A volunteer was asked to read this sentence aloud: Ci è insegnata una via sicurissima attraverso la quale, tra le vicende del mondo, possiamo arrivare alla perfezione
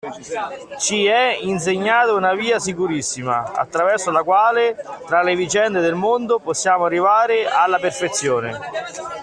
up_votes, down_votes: 1, 2